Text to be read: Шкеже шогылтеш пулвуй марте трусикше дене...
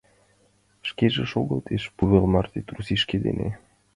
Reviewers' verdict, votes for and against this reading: accepted, 2, 0